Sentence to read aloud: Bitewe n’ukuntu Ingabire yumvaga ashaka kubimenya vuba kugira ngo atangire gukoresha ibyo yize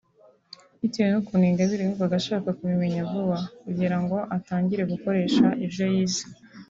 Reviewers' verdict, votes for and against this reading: rejected, 1, 2